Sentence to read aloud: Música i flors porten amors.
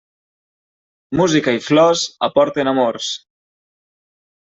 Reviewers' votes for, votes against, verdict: 0, 2, rejected